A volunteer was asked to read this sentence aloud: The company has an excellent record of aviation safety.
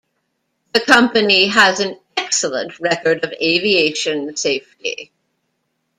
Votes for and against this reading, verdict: 2, 0, accepted